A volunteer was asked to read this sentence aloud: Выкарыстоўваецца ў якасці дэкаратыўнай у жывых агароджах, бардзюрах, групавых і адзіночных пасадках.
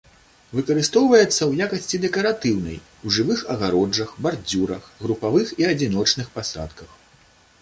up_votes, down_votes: 2, 0